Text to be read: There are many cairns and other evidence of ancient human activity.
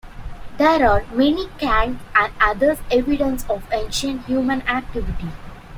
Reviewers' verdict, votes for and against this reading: rejected, 1, 2